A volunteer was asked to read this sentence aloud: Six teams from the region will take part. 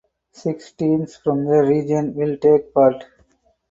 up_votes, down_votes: 4, 0